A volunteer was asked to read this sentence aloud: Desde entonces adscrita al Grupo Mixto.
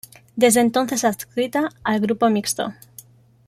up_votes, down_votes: 1, 2